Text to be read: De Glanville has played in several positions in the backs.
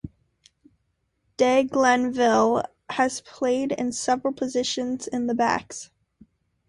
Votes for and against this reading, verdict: 2, 0, accepted